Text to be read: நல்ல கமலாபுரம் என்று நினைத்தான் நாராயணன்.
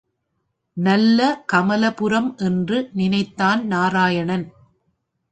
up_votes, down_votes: 1, 2